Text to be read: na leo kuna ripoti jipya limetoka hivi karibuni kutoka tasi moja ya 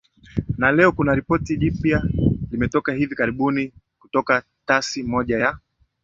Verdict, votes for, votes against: accepted, 18, 1